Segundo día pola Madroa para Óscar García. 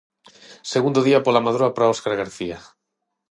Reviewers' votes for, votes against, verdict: 6, 0, accepted